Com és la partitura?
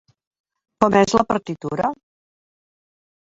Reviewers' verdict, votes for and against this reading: rejected, 0, 2